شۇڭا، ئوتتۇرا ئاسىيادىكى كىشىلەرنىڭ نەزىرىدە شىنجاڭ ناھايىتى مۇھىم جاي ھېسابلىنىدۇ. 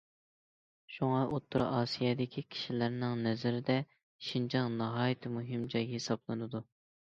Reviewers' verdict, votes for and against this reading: accepted, 2, 0